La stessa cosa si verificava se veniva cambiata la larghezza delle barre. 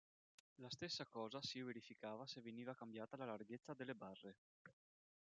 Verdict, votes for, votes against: rejected, 1, 2